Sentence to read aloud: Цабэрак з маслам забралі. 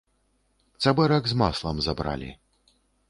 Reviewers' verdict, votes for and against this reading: accepted, 3, 0